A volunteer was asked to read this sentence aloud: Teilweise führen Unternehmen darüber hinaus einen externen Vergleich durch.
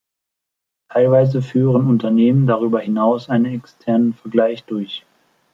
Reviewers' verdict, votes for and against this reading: accepted, 2, 1